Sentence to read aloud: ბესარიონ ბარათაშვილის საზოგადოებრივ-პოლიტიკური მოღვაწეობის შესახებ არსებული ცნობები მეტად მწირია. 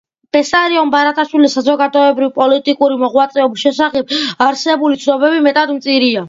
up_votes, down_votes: 2, 0